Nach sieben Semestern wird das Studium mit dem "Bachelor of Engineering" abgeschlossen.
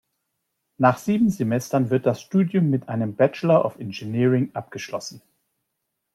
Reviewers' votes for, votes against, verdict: 1, 2, rejected